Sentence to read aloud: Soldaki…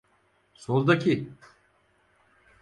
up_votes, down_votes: 4, 0